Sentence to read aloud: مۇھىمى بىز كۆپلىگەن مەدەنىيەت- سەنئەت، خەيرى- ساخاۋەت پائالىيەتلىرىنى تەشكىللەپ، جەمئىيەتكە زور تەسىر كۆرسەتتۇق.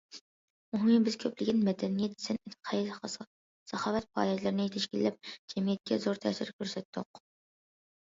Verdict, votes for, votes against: rejected, 0, 2